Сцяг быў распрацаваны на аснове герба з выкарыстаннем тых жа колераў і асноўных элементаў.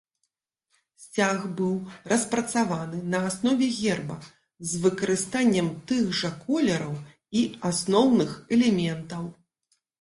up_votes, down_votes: 2, 0